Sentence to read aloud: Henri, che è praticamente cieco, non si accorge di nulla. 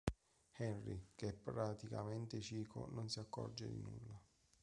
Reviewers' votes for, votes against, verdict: 1, 2, rejected